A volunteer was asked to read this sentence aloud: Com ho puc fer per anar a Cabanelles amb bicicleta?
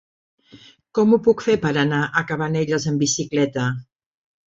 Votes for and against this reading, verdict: 4, 0, accepted